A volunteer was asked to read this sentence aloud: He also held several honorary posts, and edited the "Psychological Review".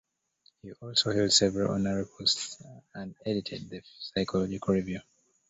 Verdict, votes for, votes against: rejected, 0, 2